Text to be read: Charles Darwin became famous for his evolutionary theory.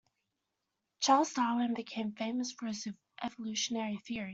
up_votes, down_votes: 0, 2